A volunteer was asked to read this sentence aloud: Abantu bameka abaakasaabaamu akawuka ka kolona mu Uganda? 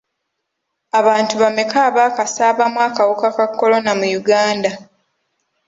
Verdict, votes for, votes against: accepted, 2, 0